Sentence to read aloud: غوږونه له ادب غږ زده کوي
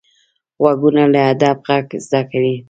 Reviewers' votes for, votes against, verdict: 2, 0, accepted